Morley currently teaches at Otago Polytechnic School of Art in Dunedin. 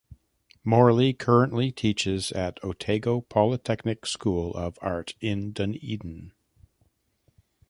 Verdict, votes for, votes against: rejected, 1, 2